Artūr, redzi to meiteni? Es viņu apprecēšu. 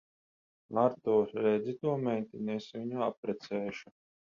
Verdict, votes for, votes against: accepted, 10, 0